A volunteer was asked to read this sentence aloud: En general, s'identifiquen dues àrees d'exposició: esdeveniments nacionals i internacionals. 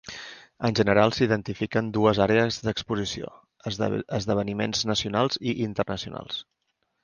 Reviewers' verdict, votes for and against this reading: rejected, 1, 2